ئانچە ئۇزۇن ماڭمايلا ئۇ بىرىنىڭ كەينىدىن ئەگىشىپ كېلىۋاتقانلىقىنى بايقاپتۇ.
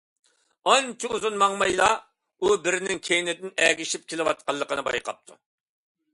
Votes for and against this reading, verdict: 2, 0, accepted